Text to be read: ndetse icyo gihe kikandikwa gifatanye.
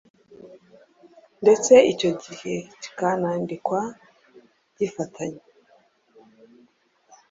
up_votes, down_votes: 1, 2